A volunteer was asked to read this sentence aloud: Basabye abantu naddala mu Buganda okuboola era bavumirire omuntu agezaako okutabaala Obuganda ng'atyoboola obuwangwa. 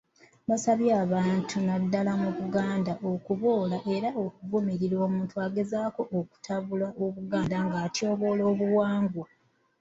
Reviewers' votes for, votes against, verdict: 0, 2, rejected